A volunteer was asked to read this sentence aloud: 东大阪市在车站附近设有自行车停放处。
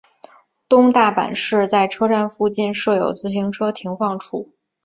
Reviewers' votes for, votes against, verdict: 5, 0, accepted